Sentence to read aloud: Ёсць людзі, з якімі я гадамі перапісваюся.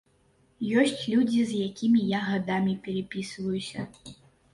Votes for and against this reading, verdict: 2, 0, accepted